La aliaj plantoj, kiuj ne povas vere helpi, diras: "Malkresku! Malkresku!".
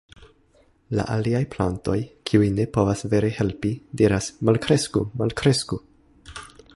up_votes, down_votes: 2, 0